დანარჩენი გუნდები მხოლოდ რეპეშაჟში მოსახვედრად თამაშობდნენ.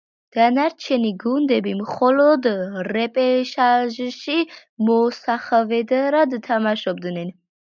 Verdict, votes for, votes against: rejected, 1, 3